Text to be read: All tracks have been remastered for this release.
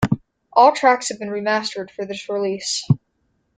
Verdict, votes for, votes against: accepted, 2, 0